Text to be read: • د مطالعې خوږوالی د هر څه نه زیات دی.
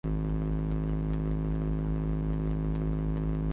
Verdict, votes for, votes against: rejected, 0, 2